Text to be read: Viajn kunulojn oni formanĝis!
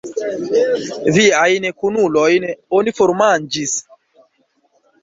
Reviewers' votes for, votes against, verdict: 3, 1, accepted